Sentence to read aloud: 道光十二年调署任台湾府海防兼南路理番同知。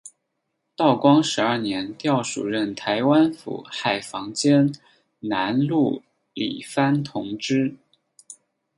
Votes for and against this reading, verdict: 4, 2, accepted